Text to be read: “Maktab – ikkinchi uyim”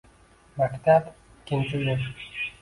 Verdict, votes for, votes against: rejected, 0, 2